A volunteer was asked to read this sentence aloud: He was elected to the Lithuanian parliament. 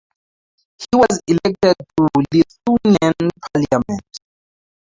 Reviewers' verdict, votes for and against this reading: rejected, 0, 4